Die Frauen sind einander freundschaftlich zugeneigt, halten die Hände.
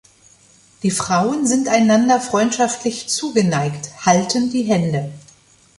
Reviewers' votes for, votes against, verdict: 2, 0, accepted